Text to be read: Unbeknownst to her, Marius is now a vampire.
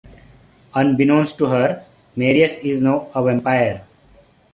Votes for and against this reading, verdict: 1, 2, rejected